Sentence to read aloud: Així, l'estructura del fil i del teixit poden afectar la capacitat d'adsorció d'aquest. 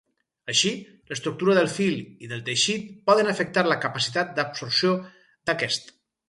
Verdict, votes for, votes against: rejected, 0, 2